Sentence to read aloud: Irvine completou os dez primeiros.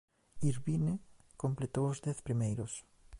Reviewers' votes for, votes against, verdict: 2, 0, accepted